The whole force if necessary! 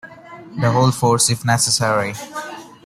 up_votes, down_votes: 2, 0